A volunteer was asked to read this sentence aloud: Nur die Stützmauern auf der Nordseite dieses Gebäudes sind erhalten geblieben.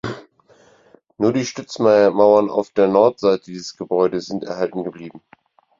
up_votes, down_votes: 0, 4